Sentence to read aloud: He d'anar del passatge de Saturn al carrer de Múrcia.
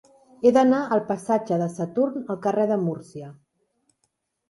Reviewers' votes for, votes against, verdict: 0, 2, rejected